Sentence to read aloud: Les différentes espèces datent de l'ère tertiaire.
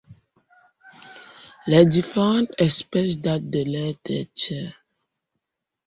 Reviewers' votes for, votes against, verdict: 1, 2, rejected